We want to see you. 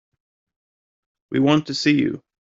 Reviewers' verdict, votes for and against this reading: accepted, 4, 0